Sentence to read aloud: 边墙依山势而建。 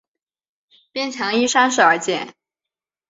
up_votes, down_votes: 3, 0